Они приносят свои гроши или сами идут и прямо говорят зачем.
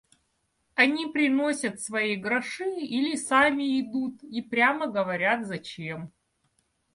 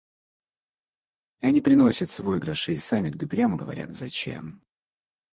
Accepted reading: first